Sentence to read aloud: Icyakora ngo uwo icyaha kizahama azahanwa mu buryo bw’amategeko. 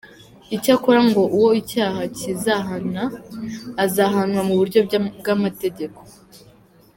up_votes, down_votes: 0, 2